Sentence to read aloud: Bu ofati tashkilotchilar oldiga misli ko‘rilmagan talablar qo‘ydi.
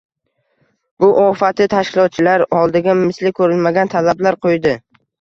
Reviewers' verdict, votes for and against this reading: accepted, 2, 0